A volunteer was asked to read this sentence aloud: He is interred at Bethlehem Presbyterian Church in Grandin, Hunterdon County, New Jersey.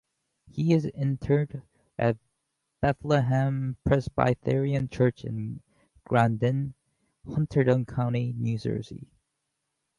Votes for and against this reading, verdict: 0, 2, rejected